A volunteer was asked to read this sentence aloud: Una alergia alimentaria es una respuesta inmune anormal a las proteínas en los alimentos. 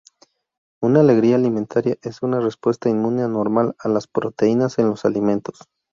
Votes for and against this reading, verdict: 0, 2, rejected